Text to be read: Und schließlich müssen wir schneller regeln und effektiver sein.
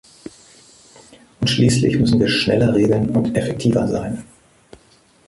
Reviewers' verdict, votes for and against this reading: accepted, 2, 0